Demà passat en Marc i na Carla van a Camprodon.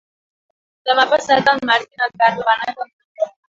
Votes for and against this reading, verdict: 1, 3, rejected